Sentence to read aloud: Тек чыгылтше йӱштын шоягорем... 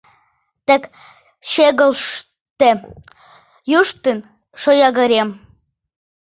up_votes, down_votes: 0, 2